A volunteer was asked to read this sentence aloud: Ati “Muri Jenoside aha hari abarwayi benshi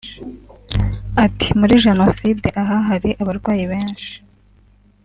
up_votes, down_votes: 3, 0